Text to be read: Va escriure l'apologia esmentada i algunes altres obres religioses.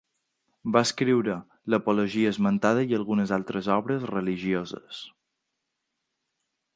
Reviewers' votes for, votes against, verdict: 2, 0, accepted